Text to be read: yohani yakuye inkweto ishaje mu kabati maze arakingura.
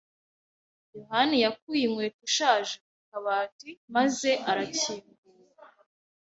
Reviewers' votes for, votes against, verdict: 1, 2, rejected